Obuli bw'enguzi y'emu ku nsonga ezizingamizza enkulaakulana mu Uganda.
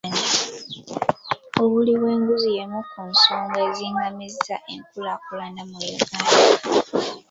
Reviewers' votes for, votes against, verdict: 2, 1, accepted